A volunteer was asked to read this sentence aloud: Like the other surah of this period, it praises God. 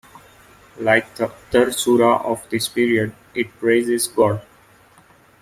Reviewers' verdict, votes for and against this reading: rejected, 0, 2